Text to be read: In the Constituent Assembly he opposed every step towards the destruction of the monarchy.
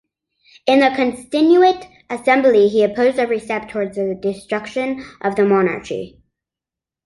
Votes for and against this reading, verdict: 0, 2, rejected